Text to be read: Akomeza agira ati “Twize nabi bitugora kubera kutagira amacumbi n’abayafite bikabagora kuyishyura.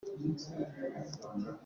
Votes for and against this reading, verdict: 0, 2, rejected